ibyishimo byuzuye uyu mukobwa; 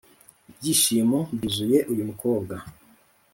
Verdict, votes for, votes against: accepted, 2, 0